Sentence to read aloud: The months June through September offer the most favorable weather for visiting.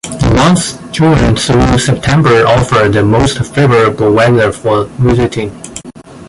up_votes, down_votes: 1, 2